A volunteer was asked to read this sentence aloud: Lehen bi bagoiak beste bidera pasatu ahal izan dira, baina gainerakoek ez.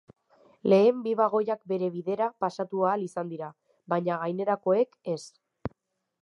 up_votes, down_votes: 0, 2